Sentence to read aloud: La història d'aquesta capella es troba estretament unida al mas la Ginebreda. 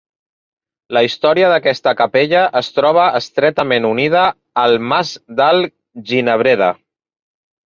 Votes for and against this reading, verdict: 0, 2, rejected